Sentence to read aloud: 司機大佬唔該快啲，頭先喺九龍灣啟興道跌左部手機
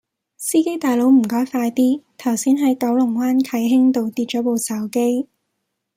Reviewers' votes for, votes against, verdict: 2, 0, accepted